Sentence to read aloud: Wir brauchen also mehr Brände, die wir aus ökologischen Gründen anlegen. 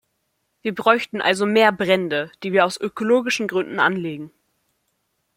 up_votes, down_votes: 0, 2